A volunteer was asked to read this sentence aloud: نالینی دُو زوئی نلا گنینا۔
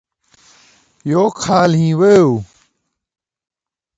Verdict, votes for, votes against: rejected, 0, 2